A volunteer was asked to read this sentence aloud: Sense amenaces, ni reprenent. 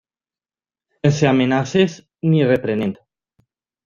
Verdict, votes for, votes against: rejected, 1, 2